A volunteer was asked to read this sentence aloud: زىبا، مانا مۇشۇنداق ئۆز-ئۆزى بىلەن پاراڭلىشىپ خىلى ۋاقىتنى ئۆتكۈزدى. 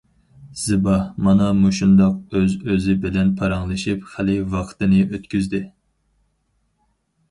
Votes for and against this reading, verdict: 0, 4, rejected